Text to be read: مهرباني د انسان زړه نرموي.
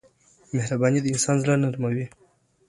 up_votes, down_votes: 2, 1